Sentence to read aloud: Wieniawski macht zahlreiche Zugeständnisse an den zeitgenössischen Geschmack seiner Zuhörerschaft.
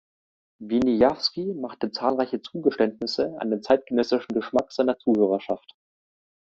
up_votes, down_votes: 2, 1